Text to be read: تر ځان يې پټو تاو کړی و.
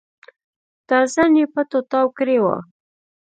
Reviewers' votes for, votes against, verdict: 2, 1, accepted